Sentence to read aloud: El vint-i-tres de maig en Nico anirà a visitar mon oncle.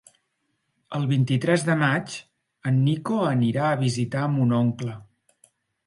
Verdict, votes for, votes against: accepted, 3, 0